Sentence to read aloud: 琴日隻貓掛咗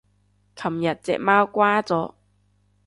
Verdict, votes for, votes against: rejected, 0, 2